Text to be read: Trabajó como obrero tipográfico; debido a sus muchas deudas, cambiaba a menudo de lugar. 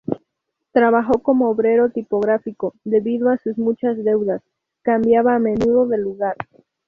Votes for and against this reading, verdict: 4, 0, accepted